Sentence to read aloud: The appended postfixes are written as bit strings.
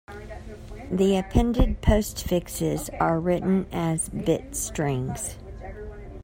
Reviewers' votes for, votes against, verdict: 2, 0, accepted